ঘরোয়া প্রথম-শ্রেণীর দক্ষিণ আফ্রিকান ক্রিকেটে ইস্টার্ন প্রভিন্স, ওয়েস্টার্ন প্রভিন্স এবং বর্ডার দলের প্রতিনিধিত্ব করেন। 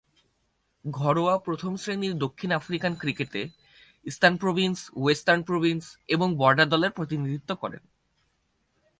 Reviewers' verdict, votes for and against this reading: rejected, 0, 4